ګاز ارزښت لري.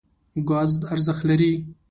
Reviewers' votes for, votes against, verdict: 2, 0, accepted